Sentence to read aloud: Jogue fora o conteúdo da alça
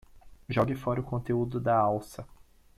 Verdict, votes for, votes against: accepted, 2, 0